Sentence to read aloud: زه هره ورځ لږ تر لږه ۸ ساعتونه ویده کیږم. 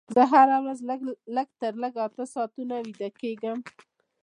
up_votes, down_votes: 0, 2